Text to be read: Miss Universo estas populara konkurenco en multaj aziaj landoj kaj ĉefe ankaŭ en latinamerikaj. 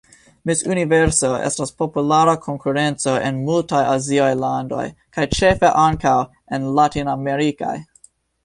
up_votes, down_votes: 3, 0